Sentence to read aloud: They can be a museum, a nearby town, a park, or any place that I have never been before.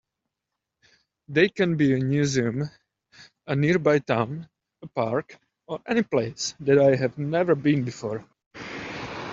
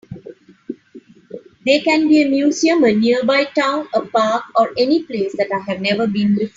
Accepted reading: first